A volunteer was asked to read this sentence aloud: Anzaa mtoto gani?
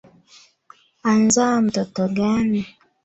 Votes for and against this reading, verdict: 0, 2, rejected